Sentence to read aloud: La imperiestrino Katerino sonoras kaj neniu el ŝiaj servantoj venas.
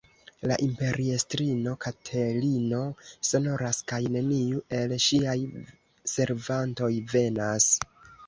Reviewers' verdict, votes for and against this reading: rejected, 1, 2